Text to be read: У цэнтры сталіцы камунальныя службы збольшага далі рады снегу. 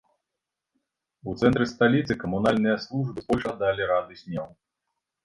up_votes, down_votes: 1, 2